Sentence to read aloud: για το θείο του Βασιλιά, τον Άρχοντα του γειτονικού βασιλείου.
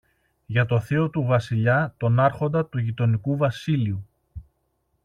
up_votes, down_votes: 1, 2